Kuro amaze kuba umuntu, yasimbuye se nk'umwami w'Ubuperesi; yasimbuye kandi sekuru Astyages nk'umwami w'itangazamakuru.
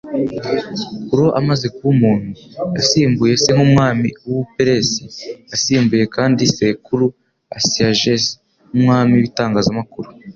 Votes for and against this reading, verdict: 2, 0, accepted